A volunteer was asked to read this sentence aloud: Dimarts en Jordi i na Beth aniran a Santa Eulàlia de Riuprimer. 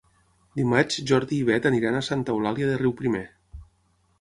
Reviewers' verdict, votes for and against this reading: rejected, 3, 6